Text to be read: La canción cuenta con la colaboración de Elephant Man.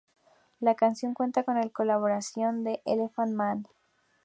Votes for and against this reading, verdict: 2, 0, accepted